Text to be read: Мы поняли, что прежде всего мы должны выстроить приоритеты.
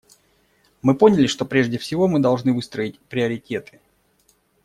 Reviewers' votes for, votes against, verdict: 2, 0, accepted